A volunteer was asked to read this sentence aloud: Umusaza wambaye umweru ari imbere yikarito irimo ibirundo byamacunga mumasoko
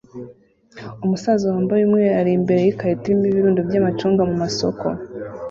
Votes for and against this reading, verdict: 2, 0, accepted